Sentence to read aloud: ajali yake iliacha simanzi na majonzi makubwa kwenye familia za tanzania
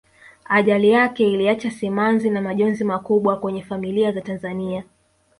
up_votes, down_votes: 2, 1